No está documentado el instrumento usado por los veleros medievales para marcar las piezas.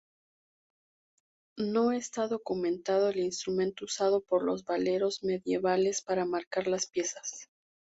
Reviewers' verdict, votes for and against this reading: accepted, 2, 0